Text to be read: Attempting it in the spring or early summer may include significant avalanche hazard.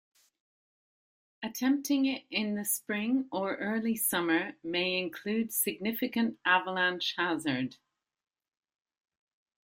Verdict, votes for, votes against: accepted, 2, 0